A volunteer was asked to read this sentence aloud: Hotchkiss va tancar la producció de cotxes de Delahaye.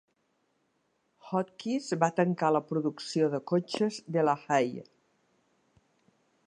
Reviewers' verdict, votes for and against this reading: rejected, 1, 2